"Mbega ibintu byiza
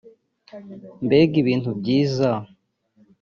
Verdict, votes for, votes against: rejected, 0, 2